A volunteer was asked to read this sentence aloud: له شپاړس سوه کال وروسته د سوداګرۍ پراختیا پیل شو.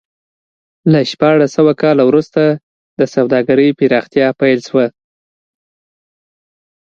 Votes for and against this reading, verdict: 3, 0, accepted